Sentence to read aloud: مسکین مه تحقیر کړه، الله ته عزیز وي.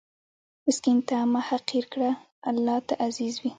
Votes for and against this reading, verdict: 1, 2, rejected